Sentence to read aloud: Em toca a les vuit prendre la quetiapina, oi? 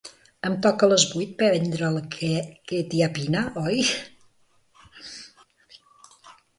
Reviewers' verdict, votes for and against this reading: rejected, 0, 2